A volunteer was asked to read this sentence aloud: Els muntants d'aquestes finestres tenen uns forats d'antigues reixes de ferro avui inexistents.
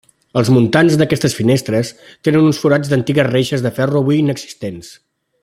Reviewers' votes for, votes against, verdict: 2, 0, accepted